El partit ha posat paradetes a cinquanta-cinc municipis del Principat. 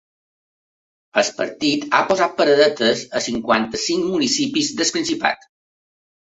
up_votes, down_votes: 1, 2